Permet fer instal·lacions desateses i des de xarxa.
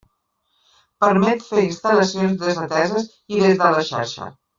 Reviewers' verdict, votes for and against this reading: accepted, 2, 0